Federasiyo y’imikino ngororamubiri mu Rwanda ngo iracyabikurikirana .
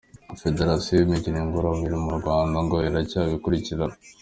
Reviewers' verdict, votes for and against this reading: accepted, 2, 0